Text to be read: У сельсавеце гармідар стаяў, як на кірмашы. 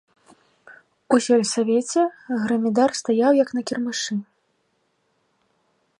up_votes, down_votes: 1, 3